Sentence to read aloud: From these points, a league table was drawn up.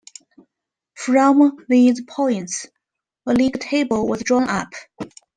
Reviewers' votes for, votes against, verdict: 1, 2, rejected